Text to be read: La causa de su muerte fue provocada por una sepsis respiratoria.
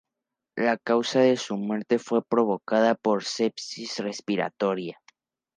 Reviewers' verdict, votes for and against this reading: rejected, 0, 2